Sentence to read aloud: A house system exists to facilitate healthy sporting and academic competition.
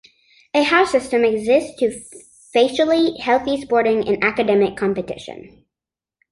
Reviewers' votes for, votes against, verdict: 1, 2, rejected